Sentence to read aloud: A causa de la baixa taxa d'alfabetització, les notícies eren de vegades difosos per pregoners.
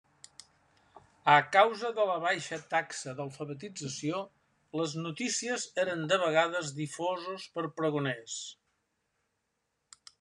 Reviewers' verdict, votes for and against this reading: accepted, 2, 0